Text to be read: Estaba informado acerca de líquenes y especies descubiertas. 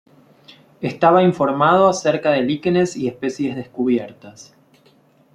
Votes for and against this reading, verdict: 2, 0, accepted